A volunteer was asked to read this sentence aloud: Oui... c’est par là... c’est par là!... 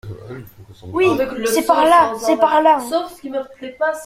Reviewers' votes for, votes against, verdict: 1, 2, rejected